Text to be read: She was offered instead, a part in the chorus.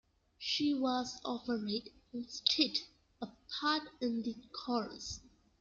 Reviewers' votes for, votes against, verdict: 1, 2, rejected